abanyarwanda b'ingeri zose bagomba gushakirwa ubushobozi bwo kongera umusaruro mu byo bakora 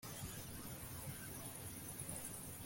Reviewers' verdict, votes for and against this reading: rejected, 0, 2